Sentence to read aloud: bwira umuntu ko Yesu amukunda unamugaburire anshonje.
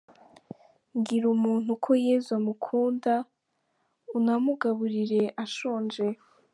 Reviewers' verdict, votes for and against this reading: accepted, 4, 2